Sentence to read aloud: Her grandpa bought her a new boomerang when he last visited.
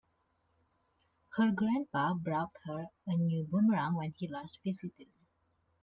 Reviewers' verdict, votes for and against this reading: rejected, 0, 2